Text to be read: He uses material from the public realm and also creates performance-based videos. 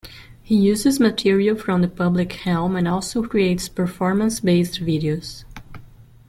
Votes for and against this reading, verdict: 1, 2, rejected